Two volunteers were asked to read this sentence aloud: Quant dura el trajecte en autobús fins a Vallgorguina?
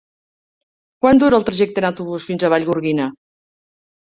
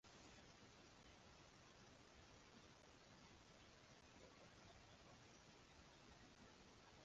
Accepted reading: first